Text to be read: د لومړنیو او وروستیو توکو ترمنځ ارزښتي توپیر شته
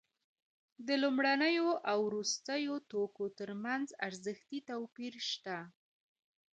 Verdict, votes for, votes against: rejected, 1, 2